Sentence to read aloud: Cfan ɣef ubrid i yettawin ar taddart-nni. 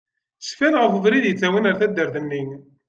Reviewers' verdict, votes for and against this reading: accepted, 2, 0